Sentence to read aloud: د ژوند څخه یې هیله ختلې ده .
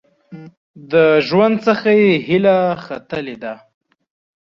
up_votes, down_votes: 4, 1